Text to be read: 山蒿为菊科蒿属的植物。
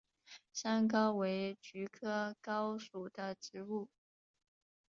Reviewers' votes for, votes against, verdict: 6, 1, accepted